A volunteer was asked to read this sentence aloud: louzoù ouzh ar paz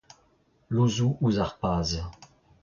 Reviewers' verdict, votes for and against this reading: rejected, 0, 2